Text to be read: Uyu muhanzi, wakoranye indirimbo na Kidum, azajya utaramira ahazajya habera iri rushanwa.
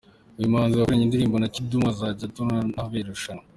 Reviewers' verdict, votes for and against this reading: rejected, 1, 3